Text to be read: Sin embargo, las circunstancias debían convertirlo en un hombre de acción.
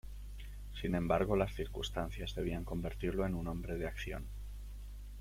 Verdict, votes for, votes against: accepted, 2, 0